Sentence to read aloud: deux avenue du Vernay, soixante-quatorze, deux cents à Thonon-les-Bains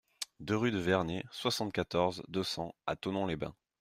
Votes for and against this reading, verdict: 0, 2, rejected